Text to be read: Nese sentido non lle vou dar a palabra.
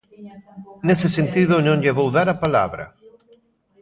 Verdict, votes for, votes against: rejected, 0, 2